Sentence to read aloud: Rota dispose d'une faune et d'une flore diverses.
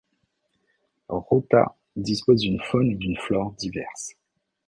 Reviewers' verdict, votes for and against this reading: accepted, 2, 0